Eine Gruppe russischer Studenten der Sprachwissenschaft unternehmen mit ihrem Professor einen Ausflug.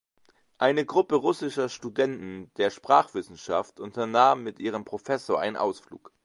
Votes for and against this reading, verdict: 0, 2, rejected